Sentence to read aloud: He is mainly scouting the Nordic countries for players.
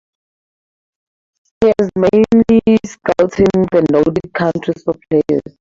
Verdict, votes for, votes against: rejected, 0, 8